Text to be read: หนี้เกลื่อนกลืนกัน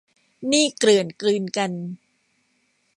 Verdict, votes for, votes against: accepted, 2, 1